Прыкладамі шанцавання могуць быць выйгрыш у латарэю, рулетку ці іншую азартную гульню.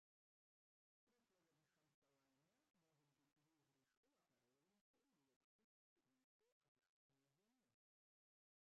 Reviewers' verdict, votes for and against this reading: rejected, 0, 2